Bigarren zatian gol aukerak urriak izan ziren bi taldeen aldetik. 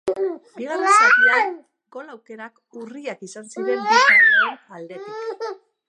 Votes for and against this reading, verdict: 0, 2, rejected